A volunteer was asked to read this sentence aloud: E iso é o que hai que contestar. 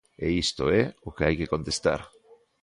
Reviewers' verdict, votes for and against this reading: rejected, 1, 2